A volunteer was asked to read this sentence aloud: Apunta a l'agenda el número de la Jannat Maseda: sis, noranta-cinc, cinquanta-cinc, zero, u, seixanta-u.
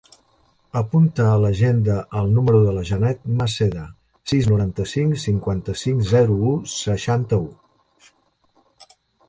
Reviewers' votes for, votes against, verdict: 2, 4, rejected